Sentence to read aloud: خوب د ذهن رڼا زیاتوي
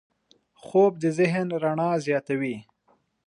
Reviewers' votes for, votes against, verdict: 2, 0, accepted